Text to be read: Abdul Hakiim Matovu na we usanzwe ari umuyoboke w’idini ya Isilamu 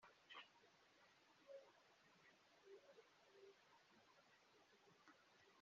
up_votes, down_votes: 0, 2